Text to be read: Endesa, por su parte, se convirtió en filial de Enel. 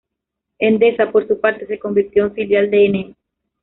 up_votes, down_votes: 0, 2